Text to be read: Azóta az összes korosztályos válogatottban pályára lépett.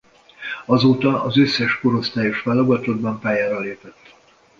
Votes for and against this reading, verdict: 2, 0, accepted